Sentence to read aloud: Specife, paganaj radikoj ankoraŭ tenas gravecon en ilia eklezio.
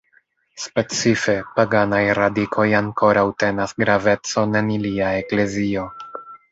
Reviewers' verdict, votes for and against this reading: accepted, 2, 1